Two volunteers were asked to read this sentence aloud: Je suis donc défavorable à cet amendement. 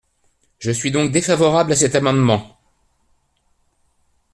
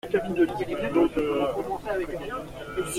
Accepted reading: first